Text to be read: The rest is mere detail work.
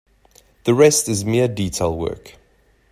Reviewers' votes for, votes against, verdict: 2, 0, accepted